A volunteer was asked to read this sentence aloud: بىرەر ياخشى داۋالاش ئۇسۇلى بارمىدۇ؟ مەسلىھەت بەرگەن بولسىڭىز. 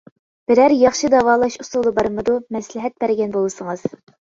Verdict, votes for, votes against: accepted, 2, 0